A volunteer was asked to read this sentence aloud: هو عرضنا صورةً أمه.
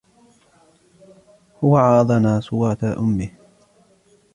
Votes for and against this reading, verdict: 0, 2, rejected